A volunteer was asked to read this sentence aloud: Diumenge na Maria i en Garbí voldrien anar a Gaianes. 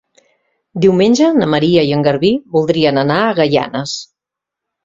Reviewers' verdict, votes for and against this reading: accepted, 2, 0